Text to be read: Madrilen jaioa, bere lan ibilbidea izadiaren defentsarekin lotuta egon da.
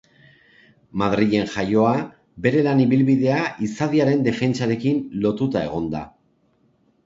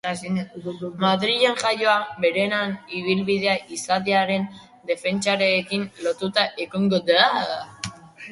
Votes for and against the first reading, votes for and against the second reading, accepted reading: 2, 0, 1, 2, first